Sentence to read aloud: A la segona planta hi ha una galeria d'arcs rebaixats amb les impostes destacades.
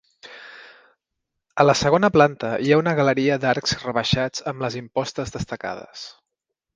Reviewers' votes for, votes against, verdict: 3, 0, accepted